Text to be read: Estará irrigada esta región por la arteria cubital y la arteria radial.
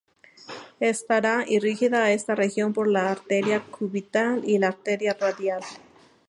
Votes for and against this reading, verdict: 0, 2, rejected